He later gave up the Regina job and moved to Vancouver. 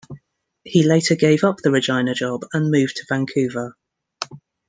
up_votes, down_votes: 2, 0